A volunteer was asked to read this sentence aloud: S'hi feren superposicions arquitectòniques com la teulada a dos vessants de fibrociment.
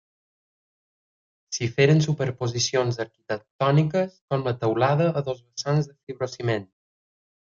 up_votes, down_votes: 1, 2